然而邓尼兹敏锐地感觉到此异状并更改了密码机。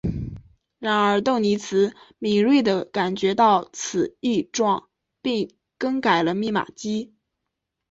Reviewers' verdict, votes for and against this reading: accepted, 4, 0